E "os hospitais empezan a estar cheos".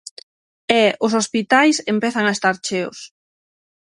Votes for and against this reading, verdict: 9, 0, accepted